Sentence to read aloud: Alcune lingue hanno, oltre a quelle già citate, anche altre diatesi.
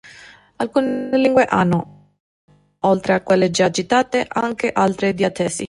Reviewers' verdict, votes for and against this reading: rejected, 1, 2